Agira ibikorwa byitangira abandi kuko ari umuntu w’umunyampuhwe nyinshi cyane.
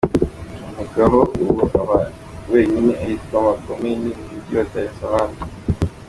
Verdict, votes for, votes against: rejected, 0, 2